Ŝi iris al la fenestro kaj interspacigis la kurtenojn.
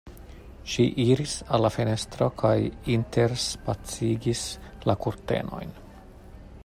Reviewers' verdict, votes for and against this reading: accepted, 2, 0